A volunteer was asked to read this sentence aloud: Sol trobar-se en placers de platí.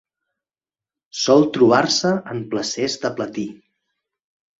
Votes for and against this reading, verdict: 4, 0, accepted